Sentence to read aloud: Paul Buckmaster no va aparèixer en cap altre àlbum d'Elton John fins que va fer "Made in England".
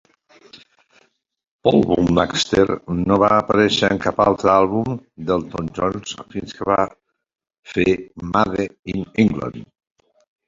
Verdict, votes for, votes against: rejected, 1, 2